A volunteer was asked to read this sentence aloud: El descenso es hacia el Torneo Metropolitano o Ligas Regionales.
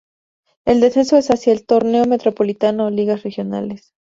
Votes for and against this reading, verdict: 2, 0, accepted